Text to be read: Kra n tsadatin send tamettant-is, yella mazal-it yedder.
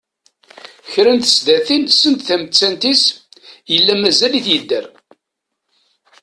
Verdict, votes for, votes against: rejected, 0, 2